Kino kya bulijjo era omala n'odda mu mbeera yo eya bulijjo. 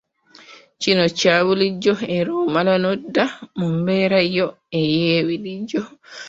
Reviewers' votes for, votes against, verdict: 1, 2, rejected